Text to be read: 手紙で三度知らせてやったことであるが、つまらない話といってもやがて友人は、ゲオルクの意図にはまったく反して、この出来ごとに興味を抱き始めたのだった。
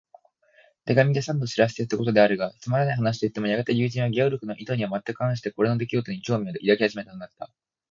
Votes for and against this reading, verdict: 3, 6, rejected